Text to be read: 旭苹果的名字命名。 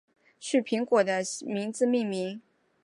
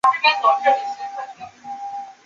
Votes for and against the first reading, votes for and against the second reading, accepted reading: 2, 0, 0, 2, first